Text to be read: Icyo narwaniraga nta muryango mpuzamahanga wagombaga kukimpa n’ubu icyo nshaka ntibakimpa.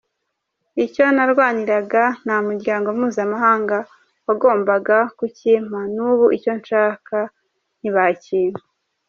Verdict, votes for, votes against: accepted, 2, 0